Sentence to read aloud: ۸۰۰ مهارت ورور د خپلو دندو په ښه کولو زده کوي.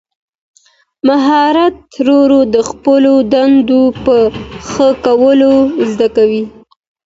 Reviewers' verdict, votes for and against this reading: rejected, 0, 2